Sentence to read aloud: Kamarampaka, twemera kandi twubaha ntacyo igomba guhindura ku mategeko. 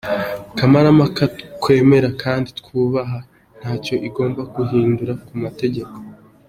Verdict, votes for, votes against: accepted, 2, 0